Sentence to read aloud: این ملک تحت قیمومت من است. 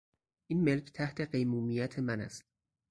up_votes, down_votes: 0, 2